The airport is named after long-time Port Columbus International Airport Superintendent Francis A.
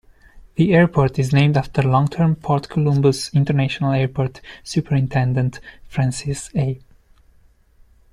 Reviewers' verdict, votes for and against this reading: rejected, 1, 2